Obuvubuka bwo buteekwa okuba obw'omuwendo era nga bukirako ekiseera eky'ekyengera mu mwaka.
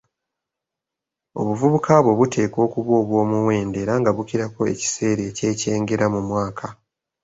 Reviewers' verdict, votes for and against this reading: accepted, 2, 0